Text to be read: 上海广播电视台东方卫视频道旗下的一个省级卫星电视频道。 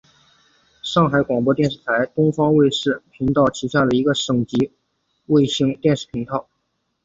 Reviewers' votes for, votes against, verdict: 3, 1, accepted